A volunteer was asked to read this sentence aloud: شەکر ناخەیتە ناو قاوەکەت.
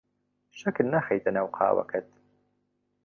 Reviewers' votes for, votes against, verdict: 2, 0, accepted